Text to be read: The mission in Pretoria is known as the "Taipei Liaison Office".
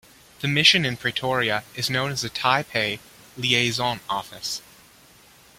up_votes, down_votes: 1, 2